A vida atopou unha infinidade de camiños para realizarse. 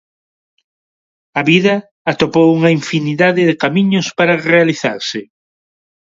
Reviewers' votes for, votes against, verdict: 2, 1, accepted